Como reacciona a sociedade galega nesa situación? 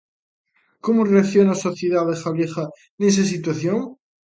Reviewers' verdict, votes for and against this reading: rejected, 0, 2